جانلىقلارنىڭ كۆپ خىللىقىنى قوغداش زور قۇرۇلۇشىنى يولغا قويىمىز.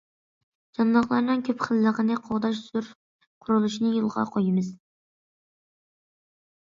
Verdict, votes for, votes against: accepted, 2, 0